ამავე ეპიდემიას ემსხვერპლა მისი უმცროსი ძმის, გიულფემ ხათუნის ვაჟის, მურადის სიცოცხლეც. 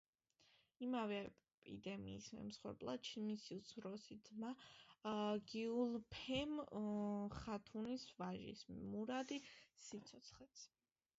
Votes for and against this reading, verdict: 0, 2, rejected